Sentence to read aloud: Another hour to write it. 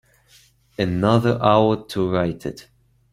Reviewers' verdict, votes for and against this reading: accepted, 2, 0